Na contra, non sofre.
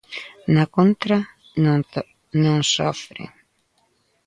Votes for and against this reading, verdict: 0, 2, rejected